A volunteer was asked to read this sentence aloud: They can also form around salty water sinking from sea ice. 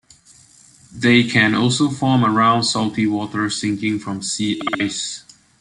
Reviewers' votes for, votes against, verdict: 1, 2, rejected